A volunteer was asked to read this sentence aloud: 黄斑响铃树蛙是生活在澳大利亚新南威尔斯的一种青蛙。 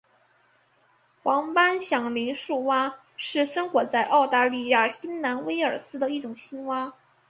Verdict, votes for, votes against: rejected, 1, 2